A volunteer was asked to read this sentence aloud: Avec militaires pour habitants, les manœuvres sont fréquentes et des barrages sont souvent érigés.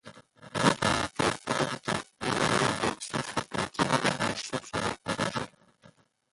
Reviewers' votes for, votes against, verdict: 0, 2, rejected